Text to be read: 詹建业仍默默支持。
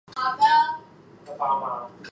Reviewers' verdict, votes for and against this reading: rejected, 0, 2